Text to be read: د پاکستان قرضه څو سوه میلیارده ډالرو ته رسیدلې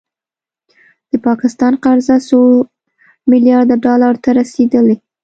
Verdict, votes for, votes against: rejected, 1, 2